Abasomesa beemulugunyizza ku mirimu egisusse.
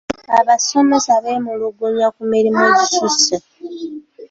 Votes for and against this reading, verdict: 0, 2, rejected